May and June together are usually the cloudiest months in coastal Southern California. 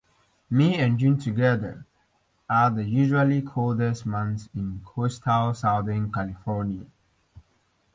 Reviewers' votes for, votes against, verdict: 1, 2, rejected